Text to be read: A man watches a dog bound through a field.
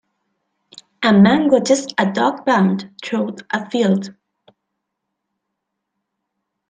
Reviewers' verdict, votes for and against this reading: rejected, 0, 2